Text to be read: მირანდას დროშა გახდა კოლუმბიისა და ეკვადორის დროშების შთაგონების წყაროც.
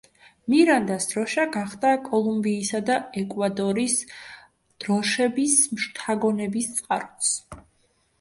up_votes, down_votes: 2, 1